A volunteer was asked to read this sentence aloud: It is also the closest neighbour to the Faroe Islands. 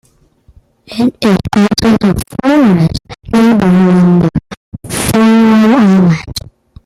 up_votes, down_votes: 0, 2